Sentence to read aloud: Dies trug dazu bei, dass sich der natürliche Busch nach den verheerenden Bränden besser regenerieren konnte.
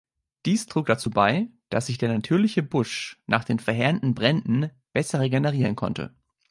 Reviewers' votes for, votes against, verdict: 2, 0, accepted